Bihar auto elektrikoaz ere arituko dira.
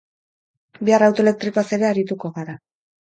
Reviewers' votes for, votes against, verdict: 4, 2, accepted